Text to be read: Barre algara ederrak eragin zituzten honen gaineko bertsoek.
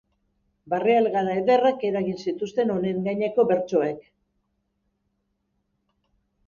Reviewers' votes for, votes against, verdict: 3, 1, accepted